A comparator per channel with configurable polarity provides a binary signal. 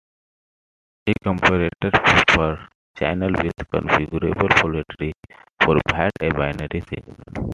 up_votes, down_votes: 1, 2